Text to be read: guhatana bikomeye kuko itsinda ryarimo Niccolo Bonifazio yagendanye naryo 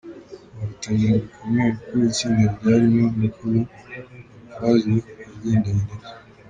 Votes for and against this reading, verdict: 2, 3, rejected